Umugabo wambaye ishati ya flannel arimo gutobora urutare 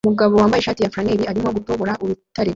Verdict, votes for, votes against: rejected, 0, 2